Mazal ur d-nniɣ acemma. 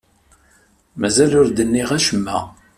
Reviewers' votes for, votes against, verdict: 2, 0, accepted